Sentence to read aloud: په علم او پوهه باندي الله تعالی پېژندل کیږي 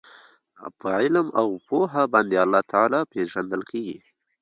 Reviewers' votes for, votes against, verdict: 2, 1, accepted